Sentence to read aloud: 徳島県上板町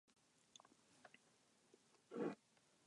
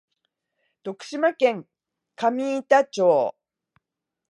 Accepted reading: second